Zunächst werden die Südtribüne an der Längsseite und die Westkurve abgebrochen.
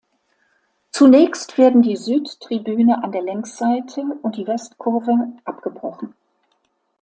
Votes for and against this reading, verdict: 2, 0, accepted